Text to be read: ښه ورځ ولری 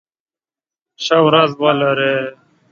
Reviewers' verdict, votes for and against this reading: accepted, 2, 1